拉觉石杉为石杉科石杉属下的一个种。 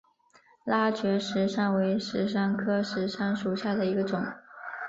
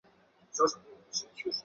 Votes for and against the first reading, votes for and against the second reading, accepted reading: 5, 2, 0, 5, first